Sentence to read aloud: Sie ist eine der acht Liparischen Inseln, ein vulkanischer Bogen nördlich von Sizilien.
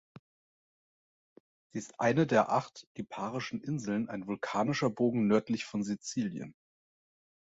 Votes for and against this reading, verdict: 2, 0, accepted